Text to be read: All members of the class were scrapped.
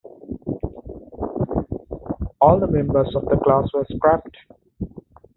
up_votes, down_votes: 2, 1